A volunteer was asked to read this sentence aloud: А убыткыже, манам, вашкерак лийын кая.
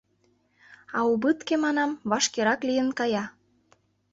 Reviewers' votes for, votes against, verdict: 0, 2, rejected